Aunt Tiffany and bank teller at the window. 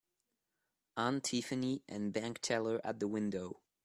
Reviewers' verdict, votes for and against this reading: accepted, 2, 0